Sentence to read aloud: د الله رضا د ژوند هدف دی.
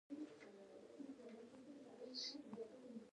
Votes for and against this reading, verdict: 0, 2, rejected